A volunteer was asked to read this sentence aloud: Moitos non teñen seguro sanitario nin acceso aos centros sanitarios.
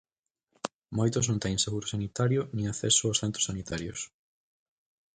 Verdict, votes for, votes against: accepted, 4, 0